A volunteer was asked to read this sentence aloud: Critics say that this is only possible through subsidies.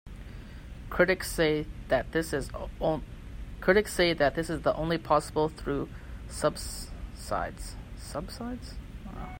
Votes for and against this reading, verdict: 0, 2, rejected